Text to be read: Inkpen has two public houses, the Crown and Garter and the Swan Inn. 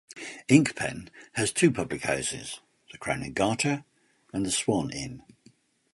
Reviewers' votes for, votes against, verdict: 2, 0, accepted